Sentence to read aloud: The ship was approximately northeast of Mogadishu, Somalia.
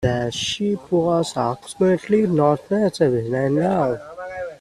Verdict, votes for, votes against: rejected, 0, 2